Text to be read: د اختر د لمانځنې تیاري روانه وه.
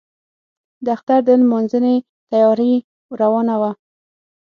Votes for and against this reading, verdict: 6, 0, accepted